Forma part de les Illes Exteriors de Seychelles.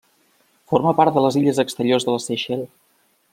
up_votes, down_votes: 1, 2